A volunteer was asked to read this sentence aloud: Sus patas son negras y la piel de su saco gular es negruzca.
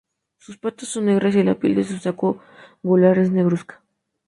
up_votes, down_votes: 2, 2